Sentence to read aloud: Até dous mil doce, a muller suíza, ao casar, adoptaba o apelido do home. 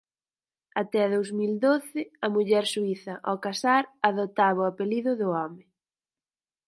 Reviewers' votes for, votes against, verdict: 4, 0, accepted